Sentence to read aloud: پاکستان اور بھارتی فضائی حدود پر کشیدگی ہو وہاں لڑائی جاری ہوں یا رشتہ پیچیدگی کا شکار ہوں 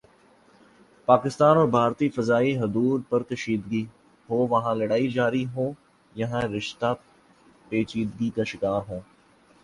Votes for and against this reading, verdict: 1, 2, rejected